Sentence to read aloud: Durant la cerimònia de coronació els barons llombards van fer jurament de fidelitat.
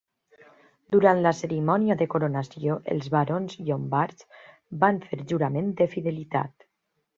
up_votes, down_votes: 3, 0